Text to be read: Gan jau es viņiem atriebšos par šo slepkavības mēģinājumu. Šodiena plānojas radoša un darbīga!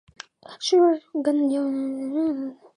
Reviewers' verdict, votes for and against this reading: rejected, 0, 2